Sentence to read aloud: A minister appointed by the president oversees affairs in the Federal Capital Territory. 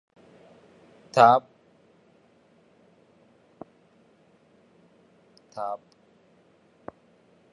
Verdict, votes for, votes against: rejected, 0, 2